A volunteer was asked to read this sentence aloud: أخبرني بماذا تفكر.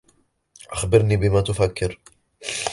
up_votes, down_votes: 1, 2